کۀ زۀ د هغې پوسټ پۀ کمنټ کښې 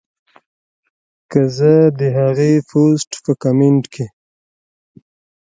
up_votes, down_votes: 2, 1